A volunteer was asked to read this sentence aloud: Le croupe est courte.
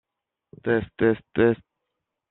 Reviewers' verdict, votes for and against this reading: rejected, 0, 2